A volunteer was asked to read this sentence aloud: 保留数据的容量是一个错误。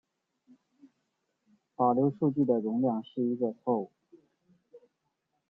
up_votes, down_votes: 2, 0